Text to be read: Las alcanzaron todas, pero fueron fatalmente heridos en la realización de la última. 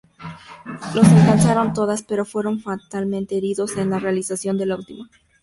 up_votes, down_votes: 2, 0